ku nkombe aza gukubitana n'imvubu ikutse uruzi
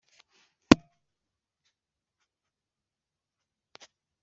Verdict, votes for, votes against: rejected, 1, 2